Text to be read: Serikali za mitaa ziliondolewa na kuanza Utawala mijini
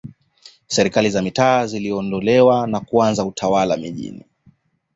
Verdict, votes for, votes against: accepted, 2, 0